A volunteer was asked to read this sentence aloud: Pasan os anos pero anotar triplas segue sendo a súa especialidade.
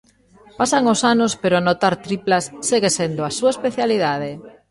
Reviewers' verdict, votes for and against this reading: accepted, 3, 0